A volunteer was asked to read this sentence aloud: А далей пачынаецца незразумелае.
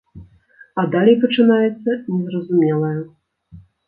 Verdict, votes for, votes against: rejected, 1, 2